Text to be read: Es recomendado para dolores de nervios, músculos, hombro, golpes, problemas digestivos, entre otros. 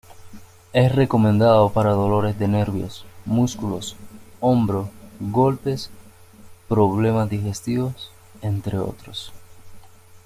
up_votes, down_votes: 2, 0